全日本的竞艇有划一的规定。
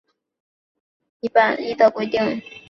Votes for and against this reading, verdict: 0, 2, rejected